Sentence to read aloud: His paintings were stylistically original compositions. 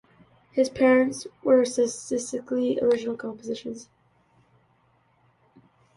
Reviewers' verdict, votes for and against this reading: rejected, 0, 2